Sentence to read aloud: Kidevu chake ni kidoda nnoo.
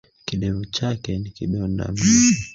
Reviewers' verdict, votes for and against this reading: rejected, 0, 2